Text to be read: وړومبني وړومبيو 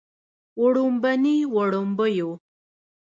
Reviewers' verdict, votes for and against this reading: rejected, 0, 2